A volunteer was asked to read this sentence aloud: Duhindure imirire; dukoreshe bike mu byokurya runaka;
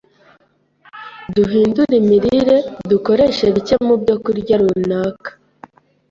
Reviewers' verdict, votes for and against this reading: accepted, 2, 0